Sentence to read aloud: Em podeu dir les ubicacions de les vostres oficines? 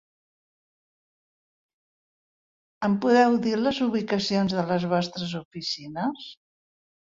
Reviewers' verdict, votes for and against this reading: rejected, 1, 2